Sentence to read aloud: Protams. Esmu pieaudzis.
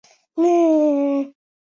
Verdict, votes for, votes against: rejected, 1, 2